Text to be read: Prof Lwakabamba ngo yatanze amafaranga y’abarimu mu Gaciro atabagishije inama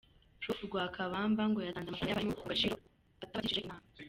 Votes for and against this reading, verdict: 1, 2, rejected